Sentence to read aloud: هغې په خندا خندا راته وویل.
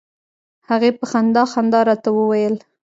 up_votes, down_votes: 1, 2